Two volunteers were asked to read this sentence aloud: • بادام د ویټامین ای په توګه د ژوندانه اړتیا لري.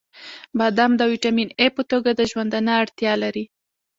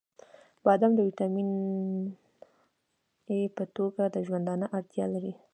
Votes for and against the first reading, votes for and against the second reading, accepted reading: 1, 2, 2, 1, second